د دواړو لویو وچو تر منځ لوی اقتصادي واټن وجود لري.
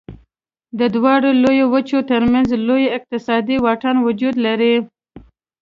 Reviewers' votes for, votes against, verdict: 2, 0, accepted